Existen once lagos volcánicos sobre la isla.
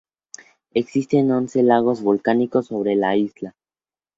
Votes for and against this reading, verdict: 4, 0, accepted